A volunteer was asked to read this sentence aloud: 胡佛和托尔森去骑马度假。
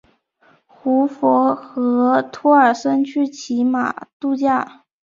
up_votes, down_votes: 3, 0